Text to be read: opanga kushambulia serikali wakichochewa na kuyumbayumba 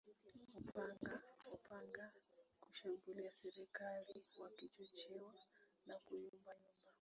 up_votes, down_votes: 0, 2